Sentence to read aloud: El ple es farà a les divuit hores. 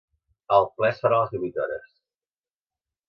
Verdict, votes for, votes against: accepted, 2, 0